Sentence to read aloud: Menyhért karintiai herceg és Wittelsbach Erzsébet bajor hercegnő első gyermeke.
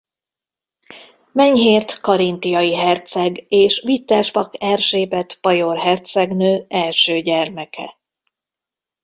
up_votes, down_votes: 1, 2